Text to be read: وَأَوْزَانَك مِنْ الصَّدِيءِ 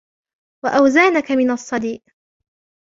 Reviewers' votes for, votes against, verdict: 1, 2, rejected